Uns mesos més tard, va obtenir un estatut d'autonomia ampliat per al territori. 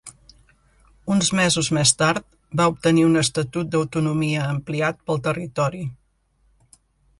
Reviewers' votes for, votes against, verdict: 0, 2, rejected